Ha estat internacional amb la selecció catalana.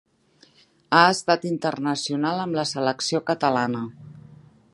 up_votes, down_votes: 3, 1